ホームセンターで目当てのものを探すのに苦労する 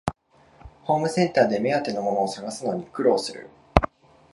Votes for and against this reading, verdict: 2, 0, accepted